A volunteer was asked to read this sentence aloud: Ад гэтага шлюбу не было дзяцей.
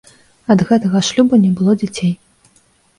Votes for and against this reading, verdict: 2, 0, accepted